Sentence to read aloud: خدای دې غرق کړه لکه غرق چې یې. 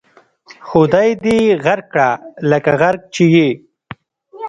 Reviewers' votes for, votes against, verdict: 1, 2, rejected